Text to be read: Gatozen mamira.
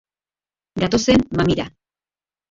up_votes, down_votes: 0, 2